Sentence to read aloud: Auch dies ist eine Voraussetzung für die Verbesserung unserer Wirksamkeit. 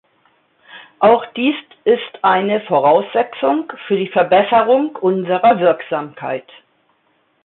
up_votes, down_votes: 1, 2